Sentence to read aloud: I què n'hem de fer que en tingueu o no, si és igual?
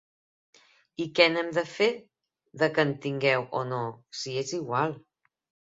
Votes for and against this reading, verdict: 1, 3, rejected